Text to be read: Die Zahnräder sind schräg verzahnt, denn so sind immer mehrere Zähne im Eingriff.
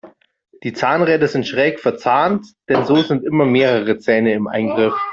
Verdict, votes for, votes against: accepted, 2, 1